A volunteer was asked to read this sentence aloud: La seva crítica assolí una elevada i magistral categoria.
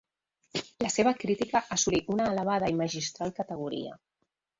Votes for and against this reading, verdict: 3, 0, accepted